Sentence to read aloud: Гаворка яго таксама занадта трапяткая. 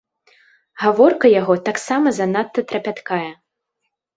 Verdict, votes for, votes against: accepted, 2, 0